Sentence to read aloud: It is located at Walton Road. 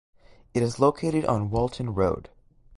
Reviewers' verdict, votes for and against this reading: rejected, 1, 2